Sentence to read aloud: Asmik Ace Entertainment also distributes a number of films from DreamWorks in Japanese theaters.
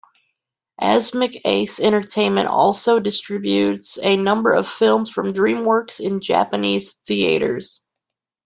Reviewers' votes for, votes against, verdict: 2, 0, accepted